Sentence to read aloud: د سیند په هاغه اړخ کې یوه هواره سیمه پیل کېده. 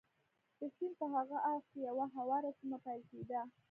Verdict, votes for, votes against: rejected, 1, 2